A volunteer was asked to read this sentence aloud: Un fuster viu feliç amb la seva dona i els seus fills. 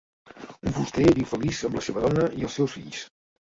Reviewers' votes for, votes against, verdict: 1, 2, rejected